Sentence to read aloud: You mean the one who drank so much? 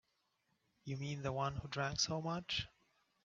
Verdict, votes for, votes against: accepted, 4, 0